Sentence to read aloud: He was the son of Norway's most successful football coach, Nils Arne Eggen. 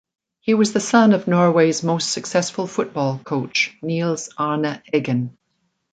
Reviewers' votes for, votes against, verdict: 2, 0, accepted